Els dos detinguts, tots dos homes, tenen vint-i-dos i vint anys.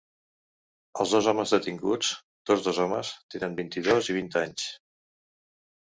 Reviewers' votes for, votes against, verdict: 0, 2, rejected